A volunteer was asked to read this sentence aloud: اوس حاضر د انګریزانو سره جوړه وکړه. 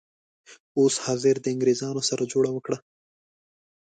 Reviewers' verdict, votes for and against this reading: accepted, 2, 0